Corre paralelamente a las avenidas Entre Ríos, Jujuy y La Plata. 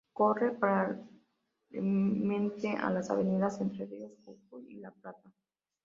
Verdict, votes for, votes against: rejected, 0, 2